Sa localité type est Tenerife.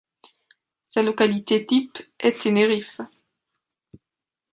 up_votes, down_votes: 2, 0